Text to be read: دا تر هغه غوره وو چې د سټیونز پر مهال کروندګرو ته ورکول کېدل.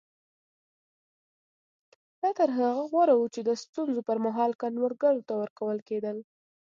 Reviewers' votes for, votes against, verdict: 2, 0, accepted